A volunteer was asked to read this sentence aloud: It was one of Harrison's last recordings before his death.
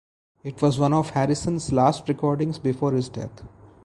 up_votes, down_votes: 0, 2